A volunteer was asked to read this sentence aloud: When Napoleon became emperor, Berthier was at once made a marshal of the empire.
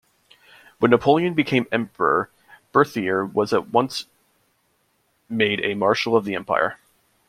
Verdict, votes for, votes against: rejected, 0, 2